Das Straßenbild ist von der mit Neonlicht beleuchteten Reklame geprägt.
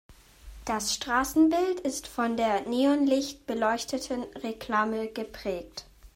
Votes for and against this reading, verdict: 1, 2, rejected